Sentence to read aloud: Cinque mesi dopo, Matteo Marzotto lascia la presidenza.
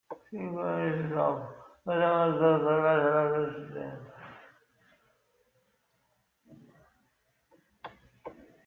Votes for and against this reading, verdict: 0, 2, rejected